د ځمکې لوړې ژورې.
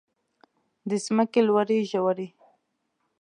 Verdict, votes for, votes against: accepted, 2, 0